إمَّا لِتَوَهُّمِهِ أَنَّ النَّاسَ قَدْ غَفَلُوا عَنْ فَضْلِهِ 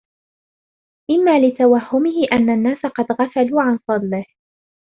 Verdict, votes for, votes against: accepted, 2, 0